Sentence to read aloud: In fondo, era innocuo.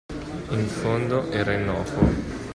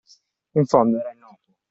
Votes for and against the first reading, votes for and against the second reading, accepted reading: 2, 1, 0, 2, first